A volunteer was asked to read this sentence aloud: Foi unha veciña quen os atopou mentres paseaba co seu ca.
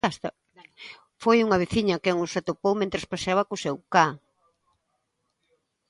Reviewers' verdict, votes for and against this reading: rejected, 0, 2